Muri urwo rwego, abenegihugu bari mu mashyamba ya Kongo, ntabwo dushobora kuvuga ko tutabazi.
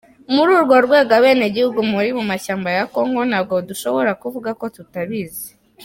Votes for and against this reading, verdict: 0, 2, rejected